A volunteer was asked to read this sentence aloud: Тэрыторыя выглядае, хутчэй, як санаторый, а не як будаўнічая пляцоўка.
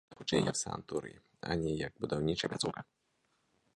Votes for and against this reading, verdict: 0, 2, rejected